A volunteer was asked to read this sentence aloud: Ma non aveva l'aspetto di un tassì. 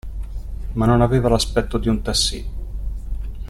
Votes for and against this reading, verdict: 2, 0, accepted